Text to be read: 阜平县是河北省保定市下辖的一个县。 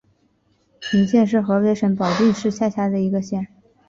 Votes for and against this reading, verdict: 2, 1, accepted